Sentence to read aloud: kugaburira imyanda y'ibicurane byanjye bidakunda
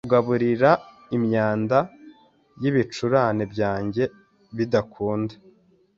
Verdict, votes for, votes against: accepted, 3, 0